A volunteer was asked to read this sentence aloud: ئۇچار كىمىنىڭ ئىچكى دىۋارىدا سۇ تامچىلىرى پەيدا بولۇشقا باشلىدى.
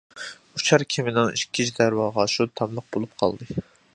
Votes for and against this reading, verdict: 0, 2, rejected